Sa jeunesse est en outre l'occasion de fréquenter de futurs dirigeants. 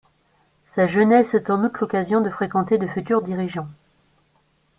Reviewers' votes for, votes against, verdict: 2, 1, accepted